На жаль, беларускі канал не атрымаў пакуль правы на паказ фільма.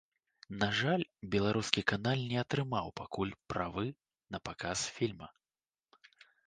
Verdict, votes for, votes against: rejected, 0, 2